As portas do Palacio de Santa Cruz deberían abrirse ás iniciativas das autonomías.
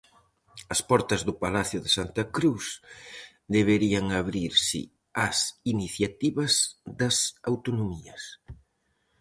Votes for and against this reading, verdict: 4, 0, accepted